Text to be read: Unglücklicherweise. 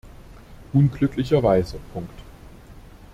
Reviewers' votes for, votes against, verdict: 0, 2, rejected